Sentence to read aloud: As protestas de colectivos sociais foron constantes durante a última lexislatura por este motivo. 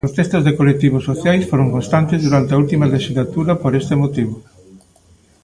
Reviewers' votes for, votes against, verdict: 0, 2, rejected